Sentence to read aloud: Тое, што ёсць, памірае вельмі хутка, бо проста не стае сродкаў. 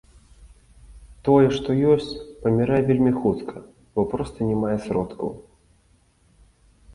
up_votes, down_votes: 1, 2